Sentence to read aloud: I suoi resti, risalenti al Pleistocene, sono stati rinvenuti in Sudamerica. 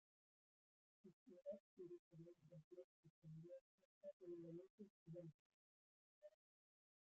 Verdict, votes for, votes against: rejected, 0, 2